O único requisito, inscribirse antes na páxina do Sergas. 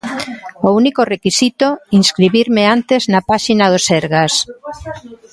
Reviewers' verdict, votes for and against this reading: rejected, 0, 3